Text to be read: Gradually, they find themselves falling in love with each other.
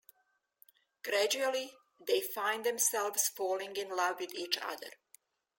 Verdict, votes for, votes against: rejected, 1, 2